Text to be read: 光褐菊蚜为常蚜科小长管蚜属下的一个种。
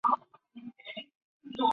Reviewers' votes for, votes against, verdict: 0, 6, rejected